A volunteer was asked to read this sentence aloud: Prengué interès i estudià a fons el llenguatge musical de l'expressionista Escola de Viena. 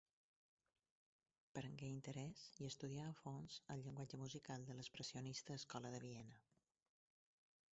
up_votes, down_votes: 0, 4